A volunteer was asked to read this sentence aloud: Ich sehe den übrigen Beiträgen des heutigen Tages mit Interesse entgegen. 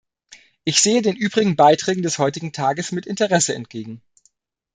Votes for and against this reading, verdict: 2, 0, accepted